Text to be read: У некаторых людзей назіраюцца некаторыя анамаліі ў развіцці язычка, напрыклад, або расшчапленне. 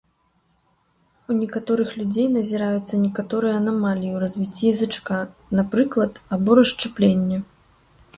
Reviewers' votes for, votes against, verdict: 0, 2, rejected